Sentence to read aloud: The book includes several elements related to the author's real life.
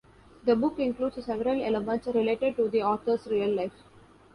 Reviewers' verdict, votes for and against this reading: rejected, 1, 2